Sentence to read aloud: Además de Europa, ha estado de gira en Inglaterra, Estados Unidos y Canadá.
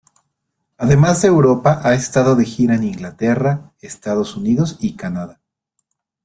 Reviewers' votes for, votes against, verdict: 2, 0, accepted